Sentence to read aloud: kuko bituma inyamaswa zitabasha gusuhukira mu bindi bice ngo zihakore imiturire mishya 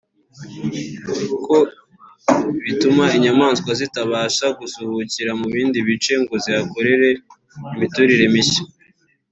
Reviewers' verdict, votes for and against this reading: rejected, 1, 2